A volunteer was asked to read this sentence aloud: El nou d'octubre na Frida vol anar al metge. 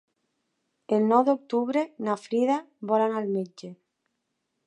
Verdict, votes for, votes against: accepted, 3, 0